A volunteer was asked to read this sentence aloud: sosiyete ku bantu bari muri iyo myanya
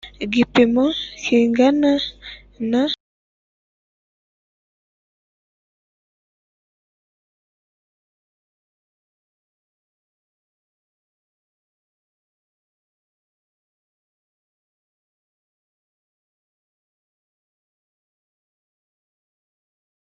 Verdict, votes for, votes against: rejected, 2, 3